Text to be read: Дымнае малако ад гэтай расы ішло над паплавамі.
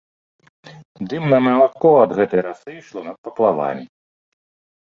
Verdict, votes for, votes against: rejected, 1, 2